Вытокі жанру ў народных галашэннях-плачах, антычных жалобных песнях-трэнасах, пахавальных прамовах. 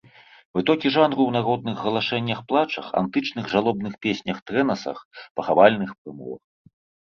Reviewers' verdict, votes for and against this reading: rejected, 0, 2